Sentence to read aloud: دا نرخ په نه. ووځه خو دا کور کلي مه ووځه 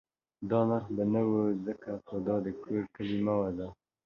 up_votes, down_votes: 0, 2